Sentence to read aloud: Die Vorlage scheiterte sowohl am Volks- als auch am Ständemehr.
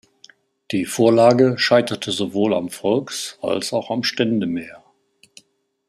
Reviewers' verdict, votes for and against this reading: accepted, 2, 0